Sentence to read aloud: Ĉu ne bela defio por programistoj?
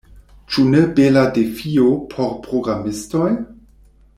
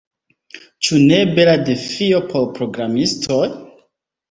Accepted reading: second